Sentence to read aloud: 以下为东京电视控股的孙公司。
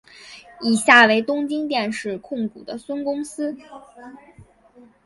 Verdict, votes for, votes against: accepted, 3, 0